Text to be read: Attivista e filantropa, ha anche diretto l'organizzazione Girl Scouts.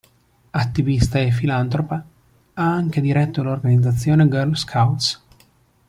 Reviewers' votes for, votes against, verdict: 2, 0, accepted